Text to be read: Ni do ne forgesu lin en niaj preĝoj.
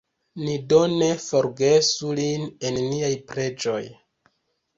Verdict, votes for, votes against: accepted, 2, 0